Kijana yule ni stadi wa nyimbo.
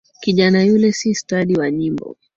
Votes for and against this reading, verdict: 0, 2, rejected